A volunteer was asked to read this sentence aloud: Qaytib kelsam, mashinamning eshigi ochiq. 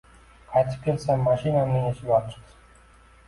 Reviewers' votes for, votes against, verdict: 2, 1, accepted